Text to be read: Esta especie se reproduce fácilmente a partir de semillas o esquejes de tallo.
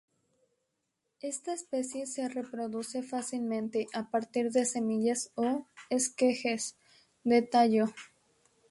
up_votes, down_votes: 2, 2